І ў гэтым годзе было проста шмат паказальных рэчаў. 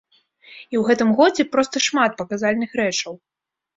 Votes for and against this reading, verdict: 1, 2, rejected